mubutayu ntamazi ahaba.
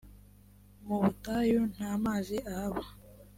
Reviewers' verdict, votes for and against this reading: accepted, 2, 0